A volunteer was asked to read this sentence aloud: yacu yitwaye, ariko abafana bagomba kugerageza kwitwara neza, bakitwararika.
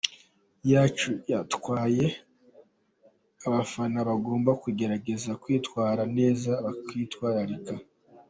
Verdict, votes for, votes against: accepted, 2, 0